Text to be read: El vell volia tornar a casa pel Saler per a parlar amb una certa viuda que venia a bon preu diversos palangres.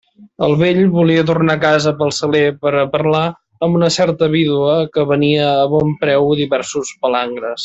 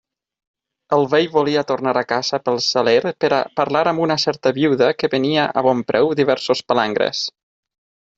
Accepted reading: second